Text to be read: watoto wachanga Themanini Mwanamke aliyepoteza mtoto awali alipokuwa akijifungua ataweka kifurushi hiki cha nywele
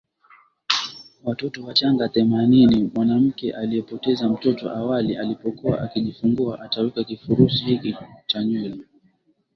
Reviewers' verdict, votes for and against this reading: accepted, 4, 0